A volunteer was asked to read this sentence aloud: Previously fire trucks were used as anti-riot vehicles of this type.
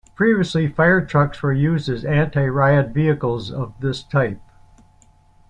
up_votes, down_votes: 3, 0